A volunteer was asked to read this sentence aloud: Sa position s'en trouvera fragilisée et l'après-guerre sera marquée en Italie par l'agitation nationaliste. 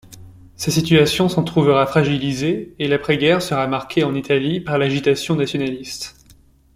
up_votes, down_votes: 1, 2